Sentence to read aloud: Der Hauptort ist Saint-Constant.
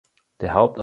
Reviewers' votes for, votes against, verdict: 0, 2, rejected